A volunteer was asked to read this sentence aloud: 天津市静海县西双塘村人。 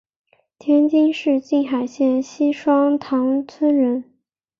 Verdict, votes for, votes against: accepted, 3, 0